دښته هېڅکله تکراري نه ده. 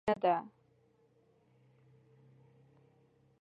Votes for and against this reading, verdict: 1, 2, rejected